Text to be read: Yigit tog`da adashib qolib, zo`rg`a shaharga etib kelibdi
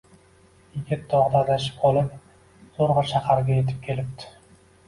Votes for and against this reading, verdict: 1, 2, rejected